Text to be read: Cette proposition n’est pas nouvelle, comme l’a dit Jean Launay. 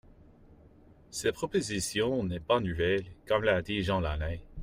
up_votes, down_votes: 0, 2